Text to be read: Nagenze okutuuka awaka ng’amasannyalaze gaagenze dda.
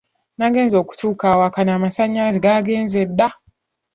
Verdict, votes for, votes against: rejected, 1, 2